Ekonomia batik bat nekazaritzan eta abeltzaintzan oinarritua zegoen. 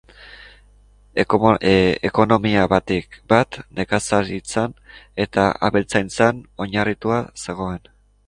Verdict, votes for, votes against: rejected, 0, 2